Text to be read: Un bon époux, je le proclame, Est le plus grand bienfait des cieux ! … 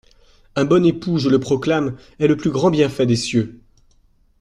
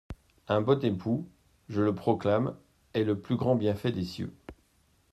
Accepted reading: first